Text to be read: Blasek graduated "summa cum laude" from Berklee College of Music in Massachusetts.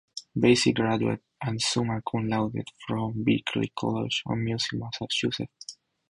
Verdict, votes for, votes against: accepted, 4, 2